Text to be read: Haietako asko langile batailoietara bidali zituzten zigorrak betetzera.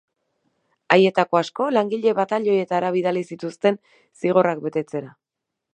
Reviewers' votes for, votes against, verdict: 4, 0, accepted